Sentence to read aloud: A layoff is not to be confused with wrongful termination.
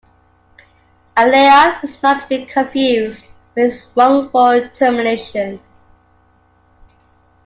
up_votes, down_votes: 2, 1